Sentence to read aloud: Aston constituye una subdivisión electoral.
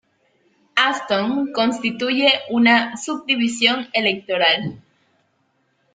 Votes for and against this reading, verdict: 2, 0, accepted